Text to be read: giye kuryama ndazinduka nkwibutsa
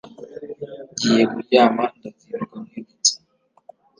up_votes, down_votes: 2, 0